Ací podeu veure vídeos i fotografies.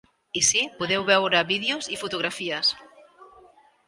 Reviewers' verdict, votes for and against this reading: rejected, 1, 2